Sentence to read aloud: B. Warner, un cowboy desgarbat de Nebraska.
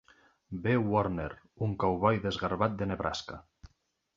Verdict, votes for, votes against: accepted, 2, 0